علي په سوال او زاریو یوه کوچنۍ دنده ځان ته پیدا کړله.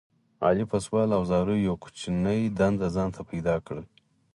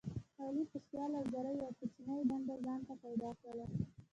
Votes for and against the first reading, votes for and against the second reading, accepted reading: 4, 0, 0, 2, first